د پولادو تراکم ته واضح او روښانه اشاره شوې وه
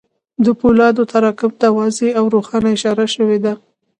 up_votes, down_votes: 2, 0